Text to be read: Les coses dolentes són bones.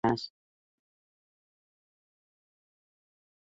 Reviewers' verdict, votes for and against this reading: rejected, 0, 3